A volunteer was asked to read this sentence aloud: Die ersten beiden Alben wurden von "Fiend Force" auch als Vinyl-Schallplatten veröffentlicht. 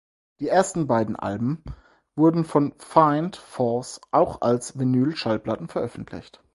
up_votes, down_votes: 4, 0